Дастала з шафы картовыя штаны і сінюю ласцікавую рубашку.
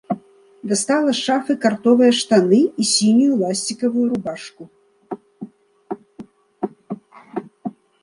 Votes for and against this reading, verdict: 2, 0, accepted